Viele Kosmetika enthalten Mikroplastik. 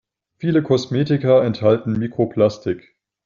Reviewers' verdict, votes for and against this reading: accepted, 2, 0